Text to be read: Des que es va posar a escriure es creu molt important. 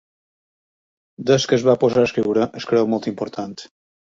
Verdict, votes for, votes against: accepted, 3, 0